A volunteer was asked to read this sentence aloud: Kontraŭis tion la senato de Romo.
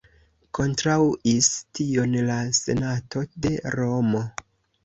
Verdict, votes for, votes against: rejected, 1, 2